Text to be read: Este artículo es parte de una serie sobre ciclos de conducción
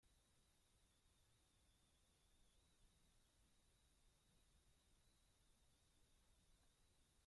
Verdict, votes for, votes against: rejected, 0, 2